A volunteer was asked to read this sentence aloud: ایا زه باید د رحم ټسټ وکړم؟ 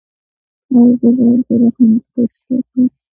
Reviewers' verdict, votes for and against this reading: accepted, 2, 1